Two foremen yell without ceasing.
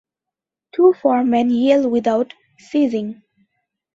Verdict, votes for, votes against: rejected, 0, 2